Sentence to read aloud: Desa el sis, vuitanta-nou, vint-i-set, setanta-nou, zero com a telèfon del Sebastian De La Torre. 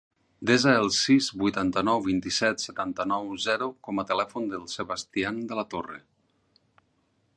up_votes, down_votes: 6, 0